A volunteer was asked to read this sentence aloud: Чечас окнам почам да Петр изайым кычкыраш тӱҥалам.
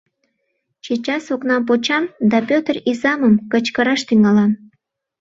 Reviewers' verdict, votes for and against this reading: rejected, 0, 2